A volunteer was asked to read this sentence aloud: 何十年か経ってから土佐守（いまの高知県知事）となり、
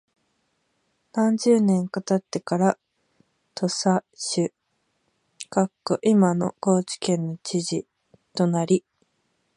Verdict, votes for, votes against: rejected, 0, 2